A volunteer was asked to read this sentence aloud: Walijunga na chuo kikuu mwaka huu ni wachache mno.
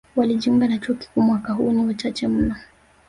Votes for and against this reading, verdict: 0, 2, rejected